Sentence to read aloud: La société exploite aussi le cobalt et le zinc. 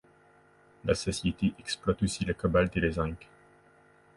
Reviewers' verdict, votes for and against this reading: accepted, 2, 0